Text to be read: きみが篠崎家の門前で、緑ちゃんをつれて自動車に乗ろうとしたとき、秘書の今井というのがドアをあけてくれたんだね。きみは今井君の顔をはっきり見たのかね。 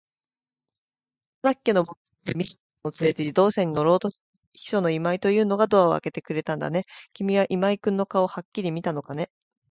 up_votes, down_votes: 0, 2